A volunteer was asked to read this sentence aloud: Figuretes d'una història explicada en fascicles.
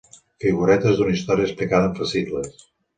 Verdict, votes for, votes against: accepted, 2, 0